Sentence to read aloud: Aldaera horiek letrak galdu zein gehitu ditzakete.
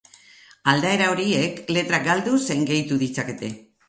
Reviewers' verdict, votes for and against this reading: accepted, 4, 0